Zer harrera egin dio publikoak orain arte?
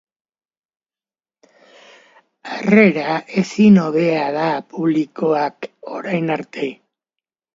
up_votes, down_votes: 0, 2